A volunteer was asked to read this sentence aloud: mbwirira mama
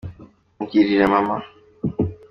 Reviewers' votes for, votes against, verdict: 2, 1, accepted